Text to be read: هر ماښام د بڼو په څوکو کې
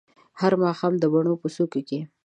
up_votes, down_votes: 2, 0